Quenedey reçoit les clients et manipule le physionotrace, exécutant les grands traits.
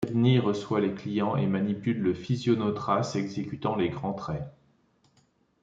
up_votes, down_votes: 1, 2